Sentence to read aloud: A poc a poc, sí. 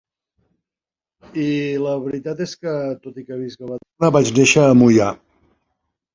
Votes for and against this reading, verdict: 0, 2, rejected